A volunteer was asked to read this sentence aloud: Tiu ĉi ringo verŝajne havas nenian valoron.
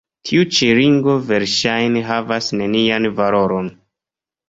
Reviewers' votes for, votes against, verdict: 2, 0, accepted